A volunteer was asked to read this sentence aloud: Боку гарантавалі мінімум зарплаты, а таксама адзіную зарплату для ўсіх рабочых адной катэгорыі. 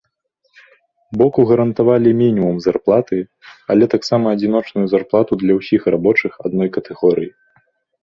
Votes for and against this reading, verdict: 0, 2, rejected